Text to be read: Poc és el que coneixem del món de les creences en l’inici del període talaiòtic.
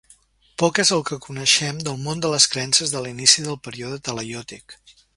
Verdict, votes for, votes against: rejected, 0, 2